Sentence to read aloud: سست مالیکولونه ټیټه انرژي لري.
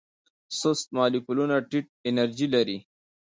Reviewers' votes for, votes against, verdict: 2, 0, accepted